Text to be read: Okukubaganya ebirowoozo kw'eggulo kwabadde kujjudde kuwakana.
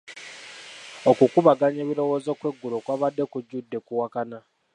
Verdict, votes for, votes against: accepted, 2, 1